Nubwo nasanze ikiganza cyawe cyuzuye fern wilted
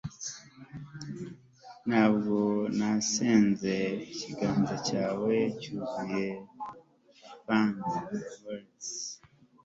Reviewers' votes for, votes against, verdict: 0, 2, rejected